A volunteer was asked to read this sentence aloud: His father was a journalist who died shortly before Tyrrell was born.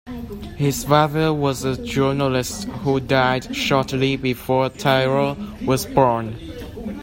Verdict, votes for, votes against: accepted, 2, 0